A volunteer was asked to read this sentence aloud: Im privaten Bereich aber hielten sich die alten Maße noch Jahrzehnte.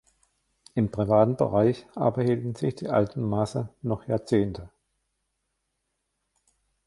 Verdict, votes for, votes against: rejected, 1, 2